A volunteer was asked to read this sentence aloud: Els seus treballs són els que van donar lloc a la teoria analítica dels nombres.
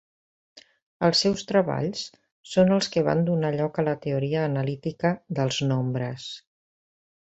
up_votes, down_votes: 4, 1